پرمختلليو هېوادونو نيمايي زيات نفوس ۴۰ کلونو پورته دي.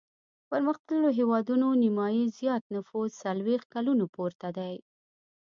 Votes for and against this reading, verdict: 0, 2, rejected